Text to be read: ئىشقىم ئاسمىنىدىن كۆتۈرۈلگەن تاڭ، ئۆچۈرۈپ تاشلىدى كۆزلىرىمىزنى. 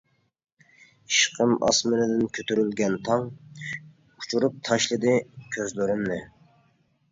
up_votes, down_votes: 0, 2